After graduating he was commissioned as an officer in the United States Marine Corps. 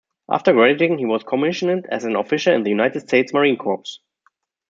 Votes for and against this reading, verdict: 0, 2, rejected